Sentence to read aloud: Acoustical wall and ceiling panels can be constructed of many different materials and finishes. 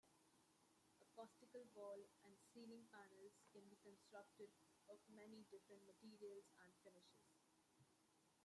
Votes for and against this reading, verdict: 0, 2, rejected